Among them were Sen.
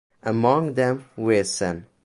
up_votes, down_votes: 2, 0